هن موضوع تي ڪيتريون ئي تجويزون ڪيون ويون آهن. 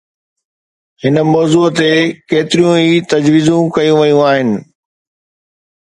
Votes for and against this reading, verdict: 2, 0, accepted